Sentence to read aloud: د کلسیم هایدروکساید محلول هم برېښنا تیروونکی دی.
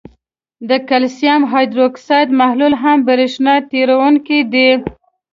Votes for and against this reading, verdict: 2, 0, accepted